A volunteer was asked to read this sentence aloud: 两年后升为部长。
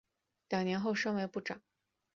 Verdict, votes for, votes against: accepted, 2, 0